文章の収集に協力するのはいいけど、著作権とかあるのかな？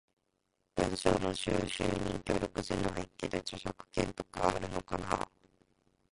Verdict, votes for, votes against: rejected, 1, 2